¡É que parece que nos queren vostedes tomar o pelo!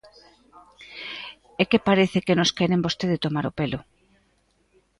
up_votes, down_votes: 0, 2